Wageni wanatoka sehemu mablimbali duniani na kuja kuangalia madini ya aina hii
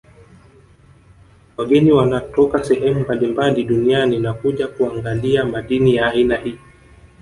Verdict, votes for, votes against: rejected, 0, 2